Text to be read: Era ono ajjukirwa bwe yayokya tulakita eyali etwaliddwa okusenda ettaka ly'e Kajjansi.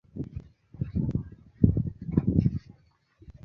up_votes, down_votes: 0, 2